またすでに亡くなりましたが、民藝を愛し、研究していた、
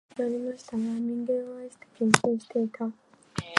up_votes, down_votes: 0, 2